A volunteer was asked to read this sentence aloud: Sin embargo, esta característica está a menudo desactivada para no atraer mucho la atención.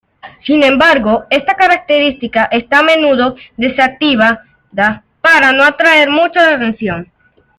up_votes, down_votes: 1, 2